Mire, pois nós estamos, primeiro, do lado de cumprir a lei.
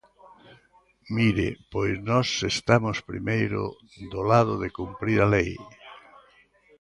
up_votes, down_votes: 2, 0